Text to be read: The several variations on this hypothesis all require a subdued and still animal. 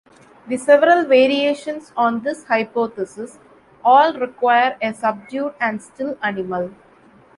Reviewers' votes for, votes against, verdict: 2, 0, accepted